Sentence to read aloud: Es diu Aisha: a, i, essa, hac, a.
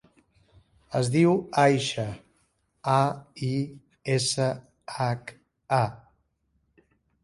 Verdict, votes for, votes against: accepted, 5, 0